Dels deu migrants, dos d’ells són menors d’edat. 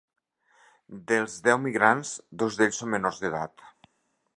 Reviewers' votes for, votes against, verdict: 2, 0, accepted